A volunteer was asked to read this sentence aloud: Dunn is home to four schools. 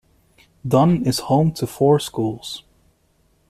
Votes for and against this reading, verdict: 2, 0, accepted